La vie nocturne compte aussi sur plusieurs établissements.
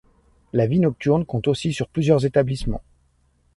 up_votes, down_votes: 2, 0